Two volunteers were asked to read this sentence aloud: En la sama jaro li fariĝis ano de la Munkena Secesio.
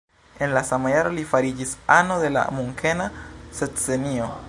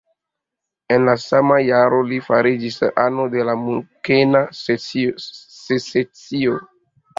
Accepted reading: second